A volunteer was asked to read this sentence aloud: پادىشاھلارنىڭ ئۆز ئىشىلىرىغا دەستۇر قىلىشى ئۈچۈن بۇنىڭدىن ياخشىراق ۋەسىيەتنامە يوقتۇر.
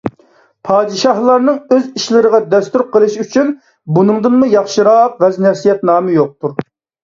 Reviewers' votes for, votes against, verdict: 1, 2, rejected